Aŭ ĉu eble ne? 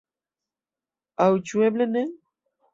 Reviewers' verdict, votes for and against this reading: accepted, 2, 0